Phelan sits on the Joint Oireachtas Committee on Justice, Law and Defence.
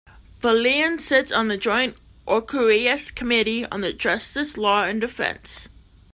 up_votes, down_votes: 2, 1